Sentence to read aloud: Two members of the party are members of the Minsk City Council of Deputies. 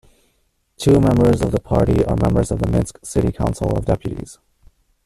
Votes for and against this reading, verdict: 1, 2, rejected